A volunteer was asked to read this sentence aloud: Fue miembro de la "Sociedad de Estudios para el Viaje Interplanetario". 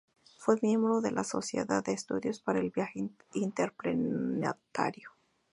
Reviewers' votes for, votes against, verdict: 0, 2, rejected